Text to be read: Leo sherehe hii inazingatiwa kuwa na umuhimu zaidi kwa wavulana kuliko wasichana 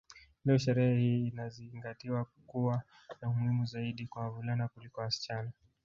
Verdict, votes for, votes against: rejected, 1, 2